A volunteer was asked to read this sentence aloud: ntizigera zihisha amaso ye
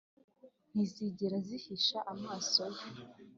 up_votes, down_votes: 2, 0